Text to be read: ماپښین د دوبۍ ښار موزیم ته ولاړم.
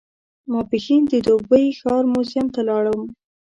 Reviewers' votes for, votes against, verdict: 2, 0, accepted